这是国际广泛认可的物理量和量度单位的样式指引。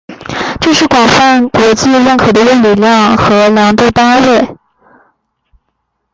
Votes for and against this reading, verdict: 0, 2, rejected